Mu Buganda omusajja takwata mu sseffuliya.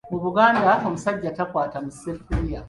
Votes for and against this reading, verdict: 2, 0, accepted